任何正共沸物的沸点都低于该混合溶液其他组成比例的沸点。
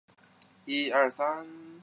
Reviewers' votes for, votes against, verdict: 0, 3, rejected